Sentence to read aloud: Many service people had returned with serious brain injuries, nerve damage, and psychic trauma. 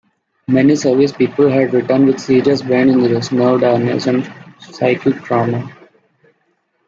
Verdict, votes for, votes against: rejected, 0, 2